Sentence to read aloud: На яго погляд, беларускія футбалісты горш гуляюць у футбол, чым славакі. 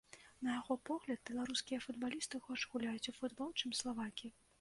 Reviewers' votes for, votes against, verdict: 2, 0, accepted